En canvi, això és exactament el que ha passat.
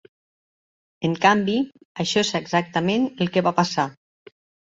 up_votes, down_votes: 0, 2